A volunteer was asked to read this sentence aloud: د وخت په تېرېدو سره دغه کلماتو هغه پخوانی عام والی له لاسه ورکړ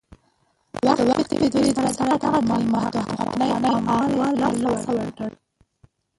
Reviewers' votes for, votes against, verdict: 0, 2, rejected